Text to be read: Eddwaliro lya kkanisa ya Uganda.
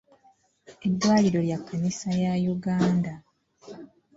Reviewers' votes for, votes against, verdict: 2, 0, accepted